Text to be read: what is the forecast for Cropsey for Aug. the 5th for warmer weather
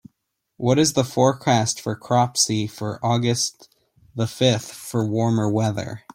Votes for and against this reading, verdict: 0, 2, rejected